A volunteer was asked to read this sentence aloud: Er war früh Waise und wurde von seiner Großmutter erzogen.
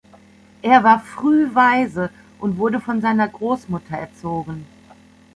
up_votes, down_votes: 2, 0